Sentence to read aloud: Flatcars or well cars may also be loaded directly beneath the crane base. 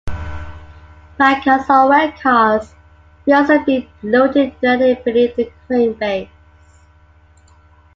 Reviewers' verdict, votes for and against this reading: accepted, 2, 0